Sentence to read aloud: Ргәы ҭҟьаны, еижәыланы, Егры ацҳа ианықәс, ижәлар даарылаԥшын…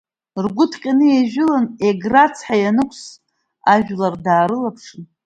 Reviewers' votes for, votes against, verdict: 1, 2, rejected